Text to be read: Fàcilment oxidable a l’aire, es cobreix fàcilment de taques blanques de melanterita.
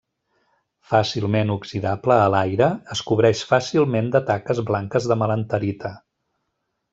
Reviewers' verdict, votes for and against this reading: accepted, 2, 0